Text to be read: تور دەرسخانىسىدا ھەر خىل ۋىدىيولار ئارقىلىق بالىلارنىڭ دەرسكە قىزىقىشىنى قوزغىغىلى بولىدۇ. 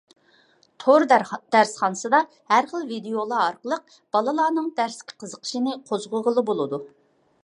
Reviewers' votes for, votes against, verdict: 2, 1, accepted